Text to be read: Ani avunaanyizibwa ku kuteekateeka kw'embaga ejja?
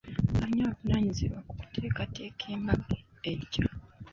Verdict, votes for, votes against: rejected, 1, 2